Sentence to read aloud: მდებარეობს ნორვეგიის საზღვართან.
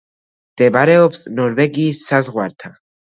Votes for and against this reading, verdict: 2, 0, accepted